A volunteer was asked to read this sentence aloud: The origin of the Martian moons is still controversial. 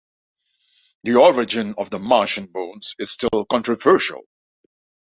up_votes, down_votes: 2, 0